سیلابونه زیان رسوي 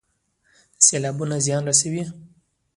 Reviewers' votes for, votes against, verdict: 2, 1, accepted